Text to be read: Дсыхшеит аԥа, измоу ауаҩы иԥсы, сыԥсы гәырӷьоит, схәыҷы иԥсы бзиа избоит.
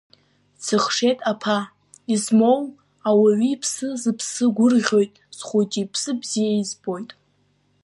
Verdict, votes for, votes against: accepted, 2, 0